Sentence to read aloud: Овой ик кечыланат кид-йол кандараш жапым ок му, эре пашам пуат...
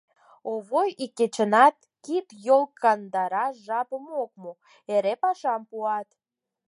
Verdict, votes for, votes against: rejected, 2, 4